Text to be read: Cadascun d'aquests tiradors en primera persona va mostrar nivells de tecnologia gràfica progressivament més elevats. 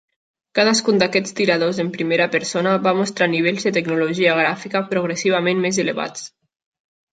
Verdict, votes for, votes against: accepted, 3, 0